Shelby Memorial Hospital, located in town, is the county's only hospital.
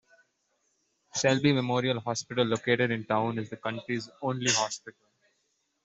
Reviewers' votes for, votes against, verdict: 0, 2, rejected